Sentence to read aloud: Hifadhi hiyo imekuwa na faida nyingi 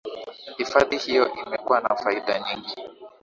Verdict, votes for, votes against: accepted, 2, 0